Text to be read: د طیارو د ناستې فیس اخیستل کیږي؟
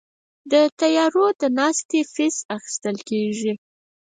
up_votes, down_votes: 2, 4